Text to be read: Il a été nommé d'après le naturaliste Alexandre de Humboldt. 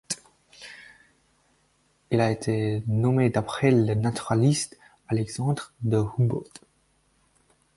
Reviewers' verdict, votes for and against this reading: accepted, 4, 0